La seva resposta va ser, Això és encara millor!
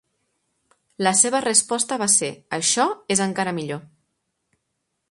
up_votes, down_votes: 3, 0